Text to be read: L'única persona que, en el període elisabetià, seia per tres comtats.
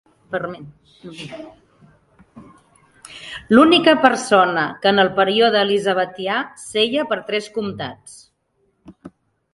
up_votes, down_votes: 0, 2